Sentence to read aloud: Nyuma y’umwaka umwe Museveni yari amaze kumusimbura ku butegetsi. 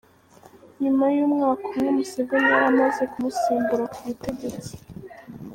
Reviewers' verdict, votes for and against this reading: accepted, 2, 1